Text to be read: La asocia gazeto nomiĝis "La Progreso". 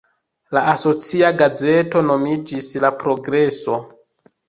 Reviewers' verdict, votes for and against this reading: accepted, 2, 1